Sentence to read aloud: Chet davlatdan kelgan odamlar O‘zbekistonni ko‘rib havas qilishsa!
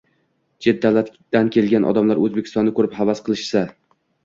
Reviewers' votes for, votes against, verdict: 2, 0, accepted